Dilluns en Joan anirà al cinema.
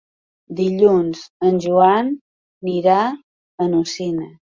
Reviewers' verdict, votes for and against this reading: rejected, 0, 2